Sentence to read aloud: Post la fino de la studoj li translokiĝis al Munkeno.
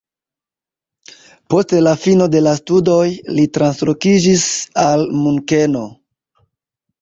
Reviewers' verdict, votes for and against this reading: rejected, 1, 2